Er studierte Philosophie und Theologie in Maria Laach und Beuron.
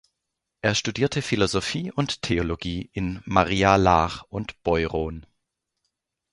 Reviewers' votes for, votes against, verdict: 2, 0, accepted